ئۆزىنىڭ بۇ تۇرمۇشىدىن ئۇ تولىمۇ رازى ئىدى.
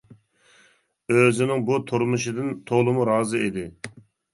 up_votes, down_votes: 0, 2